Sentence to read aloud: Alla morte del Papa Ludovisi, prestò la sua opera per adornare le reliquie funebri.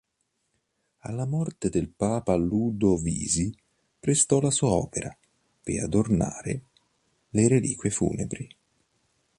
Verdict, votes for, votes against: accepted, 2, 0